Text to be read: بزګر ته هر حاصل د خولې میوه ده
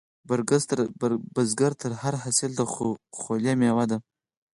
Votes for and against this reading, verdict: 2, 4, rejected